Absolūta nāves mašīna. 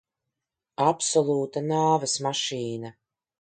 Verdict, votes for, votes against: accepted, 2, 0